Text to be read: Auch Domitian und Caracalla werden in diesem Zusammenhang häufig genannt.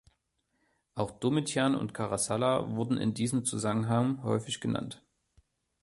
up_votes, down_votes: 0, 2